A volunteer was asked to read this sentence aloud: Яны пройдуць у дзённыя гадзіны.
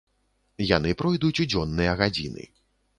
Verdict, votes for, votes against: accepted, 2, 0